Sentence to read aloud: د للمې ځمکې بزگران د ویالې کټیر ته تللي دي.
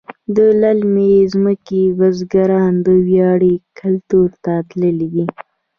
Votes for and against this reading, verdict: 1, 2, rejected